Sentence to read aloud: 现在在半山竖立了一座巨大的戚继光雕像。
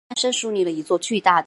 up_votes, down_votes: 0, 2